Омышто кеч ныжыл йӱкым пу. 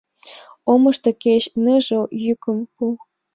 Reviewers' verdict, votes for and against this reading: accepted, 2, 1